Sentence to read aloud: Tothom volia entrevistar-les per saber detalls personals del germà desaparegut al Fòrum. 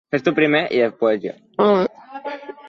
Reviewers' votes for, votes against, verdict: 0, 2, rejected